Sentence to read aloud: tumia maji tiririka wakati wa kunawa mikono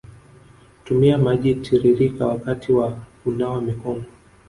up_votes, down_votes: 1, 2